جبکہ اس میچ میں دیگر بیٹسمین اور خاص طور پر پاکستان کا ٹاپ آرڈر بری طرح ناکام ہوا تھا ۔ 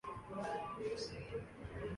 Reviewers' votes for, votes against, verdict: 4, 5, rejected